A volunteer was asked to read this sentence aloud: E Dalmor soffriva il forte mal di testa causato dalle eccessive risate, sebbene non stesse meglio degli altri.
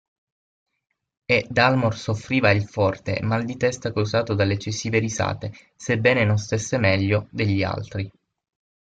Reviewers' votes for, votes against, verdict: 3, 6, rejected